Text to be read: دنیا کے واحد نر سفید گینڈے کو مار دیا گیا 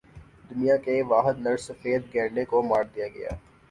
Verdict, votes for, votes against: accepted, 6, 0